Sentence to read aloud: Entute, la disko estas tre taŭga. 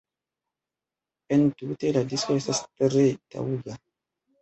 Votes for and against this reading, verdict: 1, 2, rejected